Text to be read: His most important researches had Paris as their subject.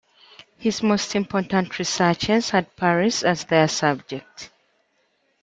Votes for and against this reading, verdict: 2, 0, accepted